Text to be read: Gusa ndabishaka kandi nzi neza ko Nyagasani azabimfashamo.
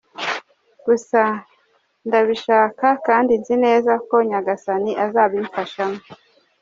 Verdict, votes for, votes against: accepted, 2, 0